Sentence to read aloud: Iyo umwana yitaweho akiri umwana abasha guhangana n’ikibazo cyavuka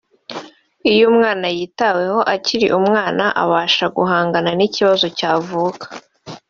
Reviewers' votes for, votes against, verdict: 1, 2, rejected